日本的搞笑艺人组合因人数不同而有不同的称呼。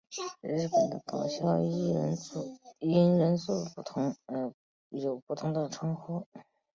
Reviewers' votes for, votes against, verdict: 2, 1, accepted